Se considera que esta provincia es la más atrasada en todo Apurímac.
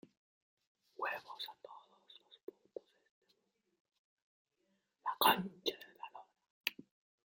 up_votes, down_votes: 0, 2